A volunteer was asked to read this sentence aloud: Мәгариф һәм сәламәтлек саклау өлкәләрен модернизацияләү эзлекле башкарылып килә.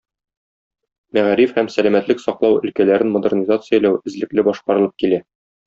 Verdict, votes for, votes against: accepted, 2, 0